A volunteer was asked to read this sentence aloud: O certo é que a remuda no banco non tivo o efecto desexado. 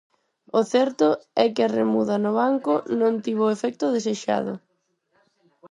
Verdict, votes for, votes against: rejected, 2, 4